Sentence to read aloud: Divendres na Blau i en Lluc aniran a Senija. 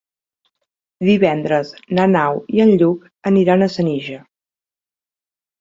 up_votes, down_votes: 0, 2